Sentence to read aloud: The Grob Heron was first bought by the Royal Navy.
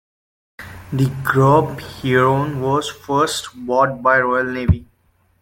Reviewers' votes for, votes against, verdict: 0, 2, rejected